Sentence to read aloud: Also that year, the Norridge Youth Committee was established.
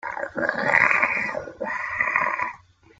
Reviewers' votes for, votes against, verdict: 0, 2, rejected